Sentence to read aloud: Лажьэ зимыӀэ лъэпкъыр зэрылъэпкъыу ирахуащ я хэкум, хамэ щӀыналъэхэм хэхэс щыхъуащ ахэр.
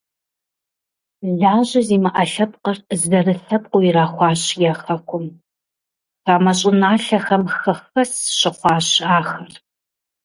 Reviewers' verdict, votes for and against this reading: accepted, 2, 0